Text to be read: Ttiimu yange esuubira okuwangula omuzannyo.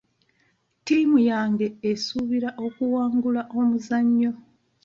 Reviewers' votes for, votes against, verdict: 0, 2, rejected